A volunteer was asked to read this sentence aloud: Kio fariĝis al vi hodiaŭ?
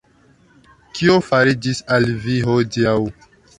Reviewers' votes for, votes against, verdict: 2, 1, accepted